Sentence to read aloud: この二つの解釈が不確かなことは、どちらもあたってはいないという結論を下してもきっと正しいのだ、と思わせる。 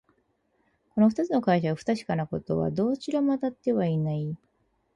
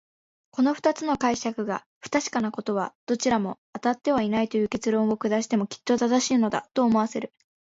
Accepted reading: second